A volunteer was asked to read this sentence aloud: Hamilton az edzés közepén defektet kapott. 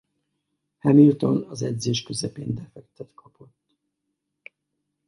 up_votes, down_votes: 0, 4